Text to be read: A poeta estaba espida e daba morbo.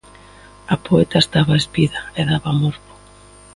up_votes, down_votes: 2, 1